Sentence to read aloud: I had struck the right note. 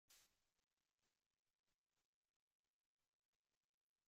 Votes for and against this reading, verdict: 0, 2, rejected